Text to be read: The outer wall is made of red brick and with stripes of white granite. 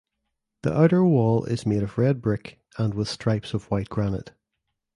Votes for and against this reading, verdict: 2, 1, accepted